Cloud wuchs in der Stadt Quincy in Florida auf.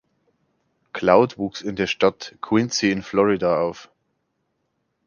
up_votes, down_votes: 2, 0